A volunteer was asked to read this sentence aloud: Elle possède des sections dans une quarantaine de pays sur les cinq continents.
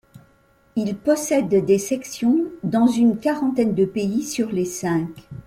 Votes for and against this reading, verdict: 0, 2, rejected